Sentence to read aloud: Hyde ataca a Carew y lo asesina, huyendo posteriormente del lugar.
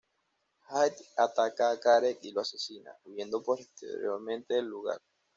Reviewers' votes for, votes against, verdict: 1, 2, rejected